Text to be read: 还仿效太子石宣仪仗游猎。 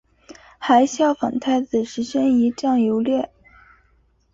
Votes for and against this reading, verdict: 5, 0, accepted